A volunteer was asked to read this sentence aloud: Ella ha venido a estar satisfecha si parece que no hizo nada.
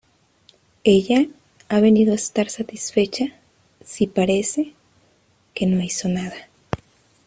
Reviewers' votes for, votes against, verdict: 2, 0, accepted